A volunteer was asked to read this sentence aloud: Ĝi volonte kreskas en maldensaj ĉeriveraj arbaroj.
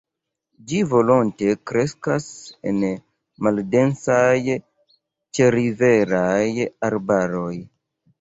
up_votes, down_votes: 2, 0